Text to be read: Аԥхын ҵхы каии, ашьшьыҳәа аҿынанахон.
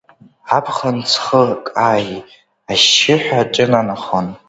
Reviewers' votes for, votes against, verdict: 2, 0, accepted